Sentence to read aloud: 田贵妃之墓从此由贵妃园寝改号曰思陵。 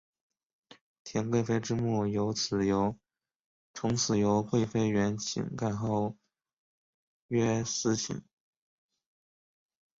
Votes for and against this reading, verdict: 0, 4, rejected